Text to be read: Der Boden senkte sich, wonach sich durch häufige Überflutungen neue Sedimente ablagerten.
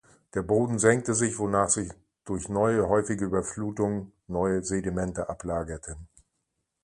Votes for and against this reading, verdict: 1, 2, rejected